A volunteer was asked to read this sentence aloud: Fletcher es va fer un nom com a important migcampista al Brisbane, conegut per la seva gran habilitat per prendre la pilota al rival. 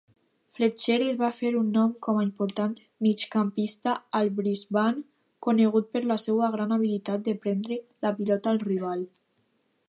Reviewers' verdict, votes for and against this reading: rejected, 0, 2